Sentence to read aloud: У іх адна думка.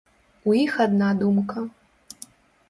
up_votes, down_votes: 2, 0